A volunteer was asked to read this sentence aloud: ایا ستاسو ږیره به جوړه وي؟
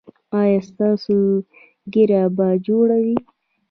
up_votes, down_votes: 2, 1